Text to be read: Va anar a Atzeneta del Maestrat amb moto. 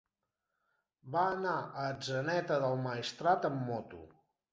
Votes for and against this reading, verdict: 4, 0, accepted